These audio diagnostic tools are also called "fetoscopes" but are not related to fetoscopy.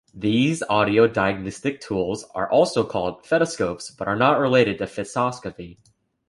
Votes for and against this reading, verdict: 2, 1, accepted